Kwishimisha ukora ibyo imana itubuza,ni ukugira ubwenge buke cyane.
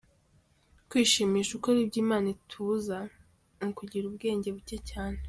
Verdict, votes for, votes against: accepted, 3, 0